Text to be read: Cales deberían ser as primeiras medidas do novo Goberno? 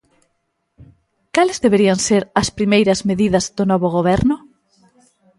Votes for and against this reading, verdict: 2, 0, accepted